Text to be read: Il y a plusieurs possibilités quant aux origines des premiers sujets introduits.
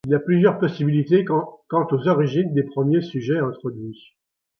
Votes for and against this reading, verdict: 2, 0, accepted